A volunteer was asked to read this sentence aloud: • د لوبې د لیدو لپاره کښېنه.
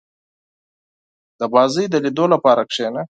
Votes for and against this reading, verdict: 2, 4, rejected